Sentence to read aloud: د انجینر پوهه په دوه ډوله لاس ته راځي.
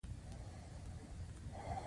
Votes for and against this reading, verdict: 2, 0, accepted